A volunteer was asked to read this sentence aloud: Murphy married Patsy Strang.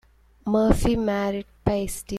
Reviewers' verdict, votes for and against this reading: rejected, 0, 2